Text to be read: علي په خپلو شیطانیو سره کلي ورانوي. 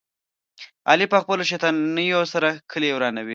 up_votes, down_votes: 2, 0